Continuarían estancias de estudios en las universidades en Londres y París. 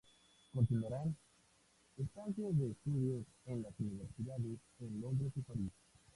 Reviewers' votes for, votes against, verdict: 0, 2, rejected